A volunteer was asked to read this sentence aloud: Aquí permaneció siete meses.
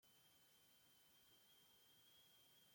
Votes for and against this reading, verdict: 0, 2, rejected